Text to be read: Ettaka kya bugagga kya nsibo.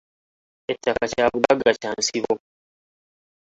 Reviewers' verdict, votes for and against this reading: accepted, 2, 1